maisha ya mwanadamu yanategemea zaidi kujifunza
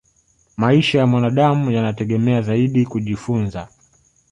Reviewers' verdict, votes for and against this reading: accepted, 2, 0